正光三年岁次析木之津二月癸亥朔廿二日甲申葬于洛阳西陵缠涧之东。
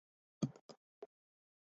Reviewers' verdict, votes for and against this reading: rejected, 0, 2